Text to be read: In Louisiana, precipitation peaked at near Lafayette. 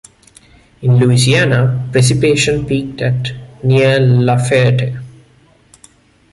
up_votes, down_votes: 1, 2